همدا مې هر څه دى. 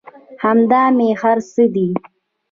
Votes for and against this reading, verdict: 1, 2, rejected